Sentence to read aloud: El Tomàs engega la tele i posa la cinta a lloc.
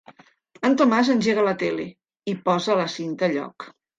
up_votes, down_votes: 2, 1